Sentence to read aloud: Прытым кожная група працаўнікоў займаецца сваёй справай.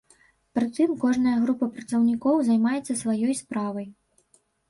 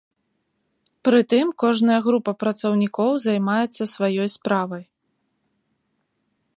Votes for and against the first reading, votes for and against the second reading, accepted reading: 1, 2, 2, 0, second